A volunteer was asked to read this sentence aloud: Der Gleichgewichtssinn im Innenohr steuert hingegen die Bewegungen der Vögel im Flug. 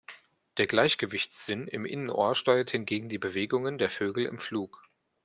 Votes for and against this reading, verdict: 2, 0, accepted